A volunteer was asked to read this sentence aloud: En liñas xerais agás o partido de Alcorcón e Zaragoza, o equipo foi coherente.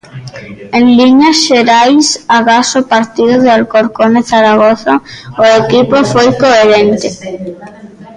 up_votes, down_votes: 1, 2